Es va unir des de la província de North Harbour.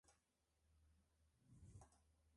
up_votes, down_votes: 0, 3